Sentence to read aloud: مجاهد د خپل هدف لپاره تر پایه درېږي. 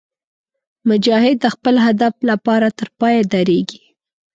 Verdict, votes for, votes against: accepted, 2, 0